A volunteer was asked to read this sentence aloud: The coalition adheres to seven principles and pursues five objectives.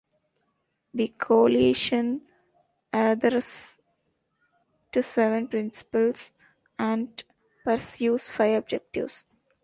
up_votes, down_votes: 1, 2